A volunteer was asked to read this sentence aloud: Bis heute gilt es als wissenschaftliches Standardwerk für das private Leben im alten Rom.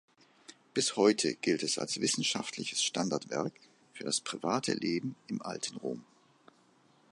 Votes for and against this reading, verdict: 2, 0, accepted